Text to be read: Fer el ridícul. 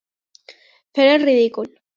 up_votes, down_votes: 2, 0